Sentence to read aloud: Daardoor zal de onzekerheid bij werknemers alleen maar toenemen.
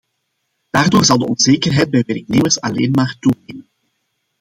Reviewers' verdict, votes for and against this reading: rejected, 0, 2